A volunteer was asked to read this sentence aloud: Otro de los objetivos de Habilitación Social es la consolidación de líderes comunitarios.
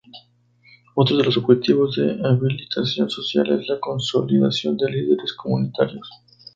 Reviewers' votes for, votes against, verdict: 0, 2, rejected